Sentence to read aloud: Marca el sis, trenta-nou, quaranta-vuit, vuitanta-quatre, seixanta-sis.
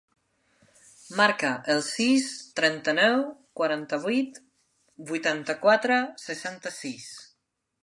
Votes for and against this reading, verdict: 3, 0, accepted